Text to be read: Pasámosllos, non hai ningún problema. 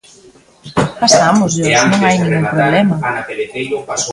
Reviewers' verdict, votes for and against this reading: rejected, 0, 2